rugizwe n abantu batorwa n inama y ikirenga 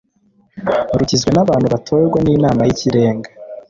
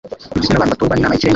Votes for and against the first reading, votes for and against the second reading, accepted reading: 3, 0, 0, 2, first